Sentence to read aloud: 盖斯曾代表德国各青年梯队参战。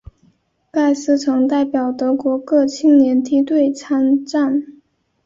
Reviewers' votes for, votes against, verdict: 2, 0, accepted